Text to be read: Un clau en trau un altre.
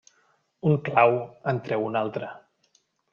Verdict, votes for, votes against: rejected, 1, 2